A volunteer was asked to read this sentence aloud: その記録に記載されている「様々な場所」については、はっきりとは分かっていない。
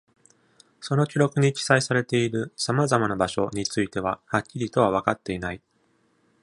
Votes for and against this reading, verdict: 2, 0, accepted